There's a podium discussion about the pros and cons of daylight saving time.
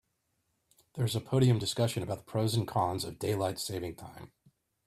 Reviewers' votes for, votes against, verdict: 2, 0, accepted